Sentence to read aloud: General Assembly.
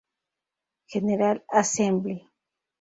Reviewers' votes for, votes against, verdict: 0, 2, rejected